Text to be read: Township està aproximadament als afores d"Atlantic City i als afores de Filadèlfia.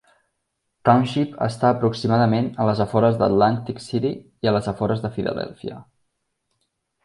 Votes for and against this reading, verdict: 1, 2, rejected